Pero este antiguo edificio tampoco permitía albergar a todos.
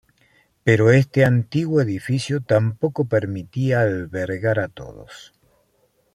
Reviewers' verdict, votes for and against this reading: accepted, 2, 0